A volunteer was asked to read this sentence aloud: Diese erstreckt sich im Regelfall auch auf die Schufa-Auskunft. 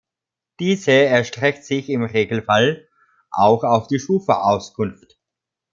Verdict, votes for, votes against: accepted, 2, 0